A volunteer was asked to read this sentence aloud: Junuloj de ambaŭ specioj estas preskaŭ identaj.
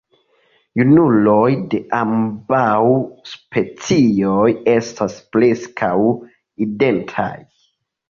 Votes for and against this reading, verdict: 2, 0, accepted